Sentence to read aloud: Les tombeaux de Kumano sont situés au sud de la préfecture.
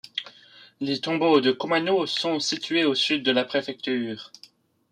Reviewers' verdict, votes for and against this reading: accepted, 2, 0